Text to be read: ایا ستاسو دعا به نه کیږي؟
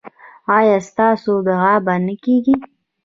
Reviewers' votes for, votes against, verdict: 0, 2, rejected